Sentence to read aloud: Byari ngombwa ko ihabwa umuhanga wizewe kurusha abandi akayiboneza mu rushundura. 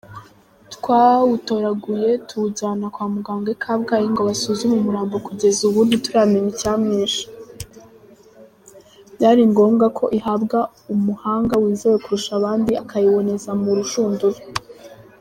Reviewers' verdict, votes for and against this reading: rejected, 0, 2